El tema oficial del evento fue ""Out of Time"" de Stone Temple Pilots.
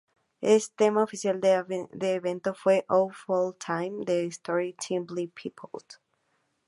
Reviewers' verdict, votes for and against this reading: accepted, 2, 0